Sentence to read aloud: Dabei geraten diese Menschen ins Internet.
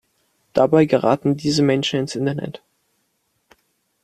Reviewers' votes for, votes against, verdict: 2, 0, accepted